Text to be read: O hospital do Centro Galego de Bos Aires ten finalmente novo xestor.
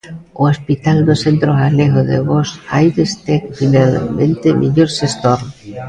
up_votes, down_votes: 0, 2